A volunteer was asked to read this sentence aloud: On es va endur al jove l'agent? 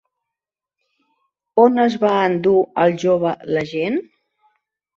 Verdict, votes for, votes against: accepted, 2, 0